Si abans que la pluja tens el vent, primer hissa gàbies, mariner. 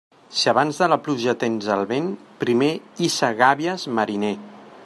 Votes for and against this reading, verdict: 1, 2, rejected